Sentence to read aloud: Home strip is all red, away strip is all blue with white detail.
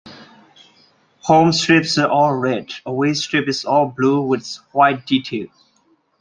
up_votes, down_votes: 2, 1